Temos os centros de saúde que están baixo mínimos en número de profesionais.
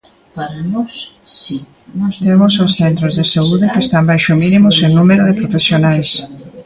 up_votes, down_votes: 0, 2